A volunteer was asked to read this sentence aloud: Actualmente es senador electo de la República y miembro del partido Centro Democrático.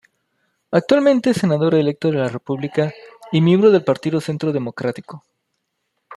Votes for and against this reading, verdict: 2, 0, accepted